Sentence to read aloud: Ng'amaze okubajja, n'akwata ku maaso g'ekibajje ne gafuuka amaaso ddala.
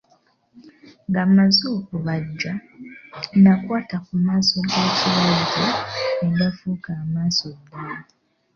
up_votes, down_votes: 1, 3